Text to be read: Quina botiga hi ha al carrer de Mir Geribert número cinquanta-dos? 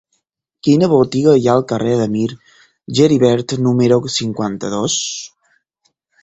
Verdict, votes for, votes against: accepted, 4, 0